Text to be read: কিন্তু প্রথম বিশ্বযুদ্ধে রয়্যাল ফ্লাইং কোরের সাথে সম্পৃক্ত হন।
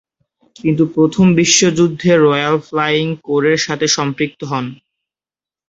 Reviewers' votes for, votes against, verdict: 2, 0, accepted